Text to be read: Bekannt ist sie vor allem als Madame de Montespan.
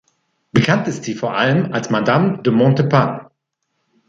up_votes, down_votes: 2, 1